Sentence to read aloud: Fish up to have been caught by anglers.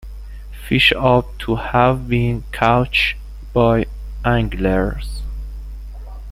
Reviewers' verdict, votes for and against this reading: rejected, 1, 2